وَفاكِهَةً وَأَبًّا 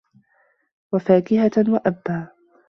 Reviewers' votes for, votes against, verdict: 2, 0, accepted